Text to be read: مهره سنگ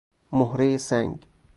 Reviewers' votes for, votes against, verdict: 0, 2, rejected